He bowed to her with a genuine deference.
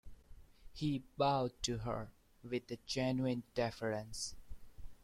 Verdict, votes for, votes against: accepted, 2, 0